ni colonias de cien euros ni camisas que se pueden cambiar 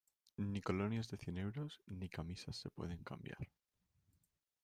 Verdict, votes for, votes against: rejected, 1, 2